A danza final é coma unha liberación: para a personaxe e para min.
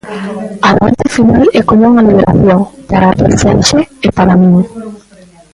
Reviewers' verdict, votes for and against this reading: rejected, 0, 2